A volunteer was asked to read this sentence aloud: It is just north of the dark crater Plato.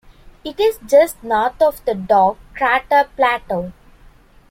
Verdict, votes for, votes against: accepted, 2, 0